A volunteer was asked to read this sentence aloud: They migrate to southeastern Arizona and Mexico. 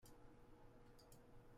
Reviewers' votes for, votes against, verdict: 0, 2, rejected